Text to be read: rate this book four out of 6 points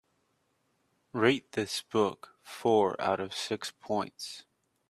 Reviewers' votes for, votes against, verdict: 0, 2, rejected